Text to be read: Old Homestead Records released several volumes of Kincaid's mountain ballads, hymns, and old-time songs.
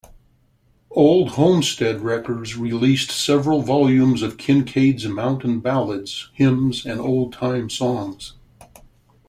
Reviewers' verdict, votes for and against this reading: accepted, 2, 0